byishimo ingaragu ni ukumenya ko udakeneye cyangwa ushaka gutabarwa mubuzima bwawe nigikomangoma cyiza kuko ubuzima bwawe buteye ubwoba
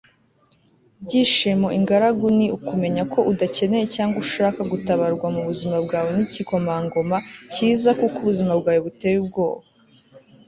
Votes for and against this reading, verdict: 2, 0, accepted